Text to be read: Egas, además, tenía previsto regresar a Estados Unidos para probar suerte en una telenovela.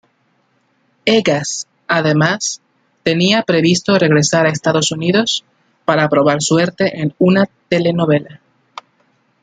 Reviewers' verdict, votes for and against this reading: accepted, 2, 0